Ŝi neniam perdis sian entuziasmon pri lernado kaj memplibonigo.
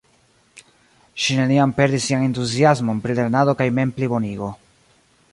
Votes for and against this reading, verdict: 1, 2, rejected